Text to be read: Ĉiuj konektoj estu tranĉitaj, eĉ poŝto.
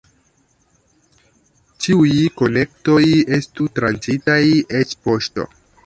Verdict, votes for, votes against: rejected, 0, 2